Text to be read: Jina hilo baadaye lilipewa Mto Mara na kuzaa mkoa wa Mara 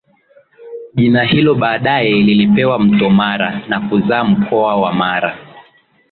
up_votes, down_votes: 2, 1